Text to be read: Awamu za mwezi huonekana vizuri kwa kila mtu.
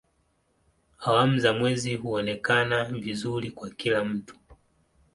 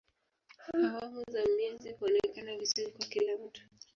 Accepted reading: first